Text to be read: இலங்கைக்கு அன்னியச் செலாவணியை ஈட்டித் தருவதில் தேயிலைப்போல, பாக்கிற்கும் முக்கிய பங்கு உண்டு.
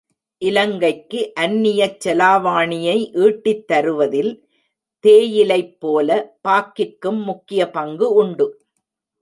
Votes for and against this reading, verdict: 1, 2, rejected